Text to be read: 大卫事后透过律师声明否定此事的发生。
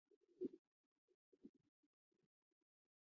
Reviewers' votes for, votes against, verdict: 0, 2, rejected